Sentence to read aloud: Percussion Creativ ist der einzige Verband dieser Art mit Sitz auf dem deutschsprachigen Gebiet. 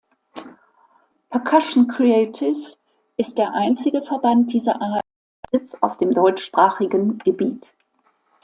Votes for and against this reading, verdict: 0, 2, rejected